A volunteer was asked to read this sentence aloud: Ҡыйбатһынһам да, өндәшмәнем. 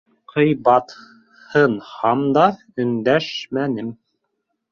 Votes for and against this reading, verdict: 0, 4, rejected